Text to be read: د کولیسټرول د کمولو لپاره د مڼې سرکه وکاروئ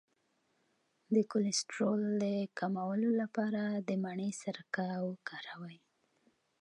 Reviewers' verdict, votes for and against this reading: accepted, 2, 0